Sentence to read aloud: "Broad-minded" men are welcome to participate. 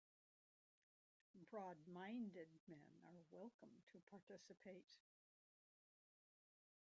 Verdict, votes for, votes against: rejected, 0, 2